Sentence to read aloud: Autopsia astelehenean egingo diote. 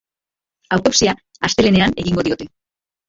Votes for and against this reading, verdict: 3, 2, accepted